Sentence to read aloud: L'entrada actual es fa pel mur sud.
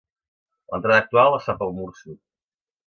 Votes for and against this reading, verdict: 0, 2, rejected